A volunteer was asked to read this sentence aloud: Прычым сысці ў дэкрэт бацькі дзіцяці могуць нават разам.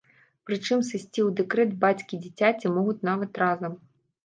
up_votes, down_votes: 1, 2